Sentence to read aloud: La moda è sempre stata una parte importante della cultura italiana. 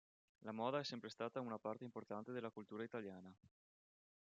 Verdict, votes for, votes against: accepted, 2, 0